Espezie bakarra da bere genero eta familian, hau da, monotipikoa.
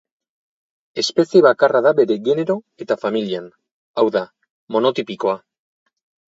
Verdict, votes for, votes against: accepted, 4, 0